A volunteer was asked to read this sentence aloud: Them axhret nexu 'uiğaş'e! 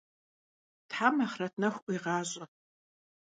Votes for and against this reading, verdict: 0, 2, rejected